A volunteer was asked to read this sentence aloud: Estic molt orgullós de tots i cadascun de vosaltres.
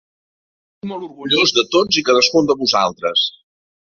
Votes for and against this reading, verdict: 0, 2, rejected